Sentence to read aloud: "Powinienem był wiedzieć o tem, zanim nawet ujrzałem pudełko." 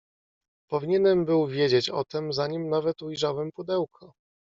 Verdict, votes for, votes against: accepted, 2, 0